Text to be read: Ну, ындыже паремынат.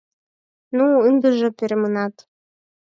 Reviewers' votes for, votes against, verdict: 2, 4, rejected